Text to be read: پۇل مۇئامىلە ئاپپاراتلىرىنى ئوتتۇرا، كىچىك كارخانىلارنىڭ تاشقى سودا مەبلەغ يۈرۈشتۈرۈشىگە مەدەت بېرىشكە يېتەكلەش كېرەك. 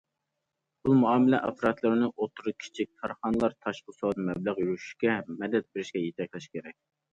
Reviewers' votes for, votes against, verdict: 0, 2, rejected